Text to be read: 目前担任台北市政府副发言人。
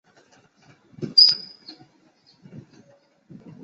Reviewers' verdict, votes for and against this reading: accepted, 3, 2